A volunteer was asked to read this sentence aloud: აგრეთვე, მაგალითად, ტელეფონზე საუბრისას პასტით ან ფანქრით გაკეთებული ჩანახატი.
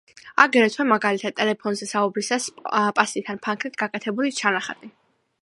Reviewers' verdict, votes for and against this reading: accepted, 2, 0